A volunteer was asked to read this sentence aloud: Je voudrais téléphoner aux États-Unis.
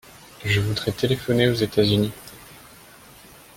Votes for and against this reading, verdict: 1, 2, rejected